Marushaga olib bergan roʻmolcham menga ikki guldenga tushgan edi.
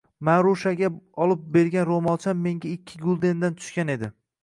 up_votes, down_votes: 2, 0